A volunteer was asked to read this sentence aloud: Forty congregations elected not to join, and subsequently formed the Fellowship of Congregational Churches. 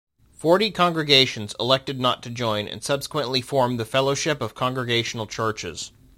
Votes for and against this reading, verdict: 2, 0, accepted